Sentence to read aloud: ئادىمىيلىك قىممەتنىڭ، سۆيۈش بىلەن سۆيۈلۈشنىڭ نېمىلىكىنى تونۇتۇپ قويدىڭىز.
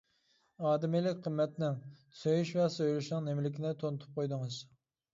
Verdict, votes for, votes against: rejected, 0, 2